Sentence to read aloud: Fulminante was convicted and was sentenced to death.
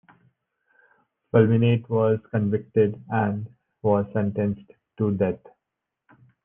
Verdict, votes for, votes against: accepted, 3, 2